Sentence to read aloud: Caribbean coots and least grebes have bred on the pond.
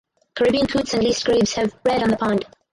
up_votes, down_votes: 4, 0